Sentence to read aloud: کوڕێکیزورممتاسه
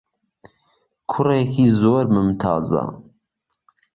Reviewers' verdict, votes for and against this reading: rejected, 1, 2